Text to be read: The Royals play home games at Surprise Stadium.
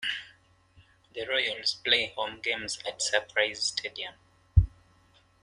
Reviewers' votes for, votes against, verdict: 1, 2, rejected